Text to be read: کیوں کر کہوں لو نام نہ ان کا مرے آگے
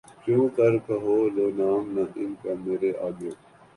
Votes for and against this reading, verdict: 4, 3, accepted